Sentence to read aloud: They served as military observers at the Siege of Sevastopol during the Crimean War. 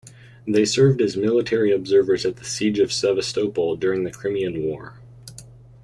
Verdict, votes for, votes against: accepted, 2, 0